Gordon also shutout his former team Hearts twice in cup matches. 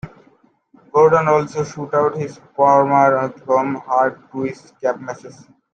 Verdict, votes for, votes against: rejected, 0, 2